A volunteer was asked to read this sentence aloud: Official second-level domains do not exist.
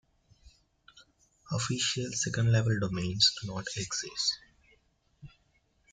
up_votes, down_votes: 2, 0